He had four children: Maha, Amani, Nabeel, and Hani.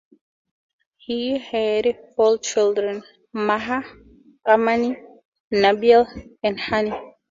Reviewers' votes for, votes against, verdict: 4, 2, accepted